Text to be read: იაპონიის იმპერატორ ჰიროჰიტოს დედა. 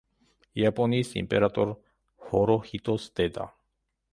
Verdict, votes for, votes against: rejected, 1, 2